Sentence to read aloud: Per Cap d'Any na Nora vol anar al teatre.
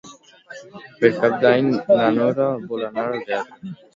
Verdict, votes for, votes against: rejected, 0, 2